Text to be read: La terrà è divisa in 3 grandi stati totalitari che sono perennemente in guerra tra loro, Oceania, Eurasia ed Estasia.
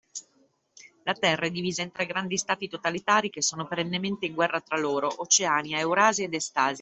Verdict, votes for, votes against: rejected, 0, 2